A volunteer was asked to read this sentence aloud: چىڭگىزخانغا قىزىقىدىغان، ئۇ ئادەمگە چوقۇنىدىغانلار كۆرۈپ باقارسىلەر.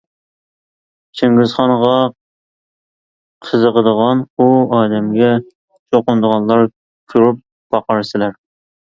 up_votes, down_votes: 2, 0